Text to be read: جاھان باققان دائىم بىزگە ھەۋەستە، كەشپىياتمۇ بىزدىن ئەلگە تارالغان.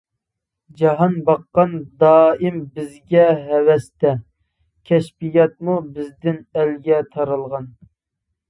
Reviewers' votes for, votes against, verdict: 2, 0, accepted